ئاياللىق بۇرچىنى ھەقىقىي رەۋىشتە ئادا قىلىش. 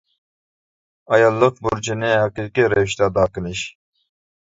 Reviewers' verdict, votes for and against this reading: rejected, 1, 2